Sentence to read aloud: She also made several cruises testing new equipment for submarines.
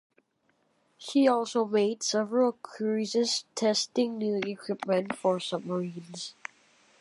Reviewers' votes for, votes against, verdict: 2, 0, accepted